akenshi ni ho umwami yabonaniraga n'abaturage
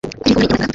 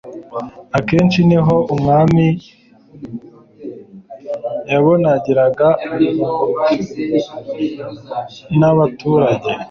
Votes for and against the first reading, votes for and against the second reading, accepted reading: 1, 2, 2, 0, second